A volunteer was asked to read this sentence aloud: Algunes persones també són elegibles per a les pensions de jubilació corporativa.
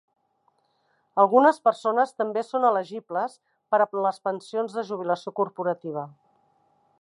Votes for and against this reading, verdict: 1, 2, rejected